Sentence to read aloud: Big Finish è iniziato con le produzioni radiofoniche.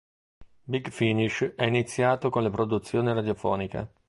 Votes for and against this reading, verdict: 2, 0, accepted